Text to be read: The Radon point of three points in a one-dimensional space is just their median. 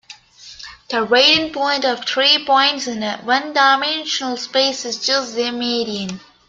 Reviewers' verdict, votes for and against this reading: accepted, 2, 1